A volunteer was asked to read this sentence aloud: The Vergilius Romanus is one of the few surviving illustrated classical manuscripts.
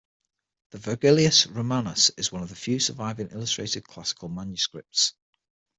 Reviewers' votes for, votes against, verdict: 6, 0, accepted